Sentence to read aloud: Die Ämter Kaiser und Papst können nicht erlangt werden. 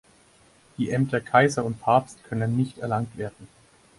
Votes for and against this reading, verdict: 4, 2, accepted